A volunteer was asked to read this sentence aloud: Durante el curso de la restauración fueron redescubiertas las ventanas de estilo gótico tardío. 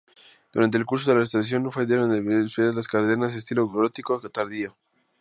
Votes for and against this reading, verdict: 0, 2, rejected